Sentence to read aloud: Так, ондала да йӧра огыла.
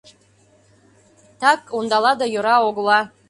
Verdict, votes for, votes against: accepted, 2, 0